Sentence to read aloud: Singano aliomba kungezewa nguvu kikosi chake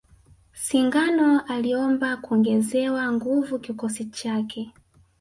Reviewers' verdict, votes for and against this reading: rejected, 1, 2